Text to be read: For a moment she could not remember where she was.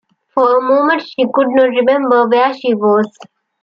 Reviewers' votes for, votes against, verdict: 2, 0, accepted